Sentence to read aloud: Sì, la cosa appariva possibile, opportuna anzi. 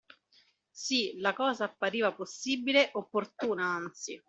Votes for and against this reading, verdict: 2, 0, accepted